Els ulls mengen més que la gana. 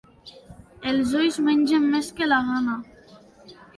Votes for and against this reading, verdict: 2, 1, accepted